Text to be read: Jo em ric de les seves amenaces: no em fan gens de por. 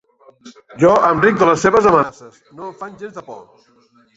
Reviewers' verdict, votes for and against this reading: rejected, 1, 2